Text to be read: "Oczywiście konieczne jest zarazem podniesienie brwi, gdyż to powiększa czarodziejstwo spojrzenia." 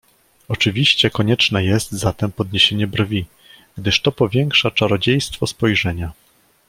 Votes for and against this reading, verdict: 0, 2, rejected